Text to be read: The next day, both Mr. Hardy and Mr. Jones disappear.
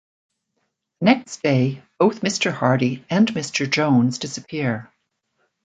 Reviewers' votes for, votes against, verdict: 0, 2, rejected